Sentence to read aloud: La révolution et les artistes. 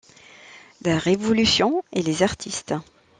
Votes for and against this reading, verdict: 2, 0, accepted